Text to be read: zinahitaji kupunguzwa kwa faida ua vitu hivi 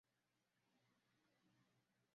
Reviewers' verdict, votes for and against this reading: rejected, 0, 2